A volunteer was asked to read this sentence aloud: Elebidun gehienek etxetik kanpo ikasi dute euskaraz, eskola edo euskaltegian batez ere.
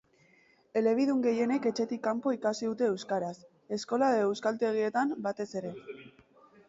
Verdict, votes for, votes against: accepted, 2, 0